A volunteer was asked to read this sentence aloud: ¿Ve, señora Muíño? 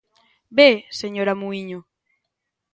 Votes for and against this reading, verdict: 2, 0, accepted